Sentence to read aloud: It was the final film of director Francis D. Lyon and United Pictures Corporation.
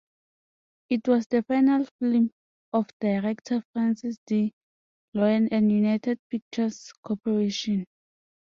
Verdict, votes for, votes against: rejected, 0, 2